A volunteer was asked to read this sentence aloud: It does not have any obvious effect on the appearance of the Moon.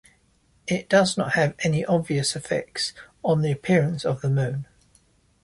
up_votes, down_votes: 1, 2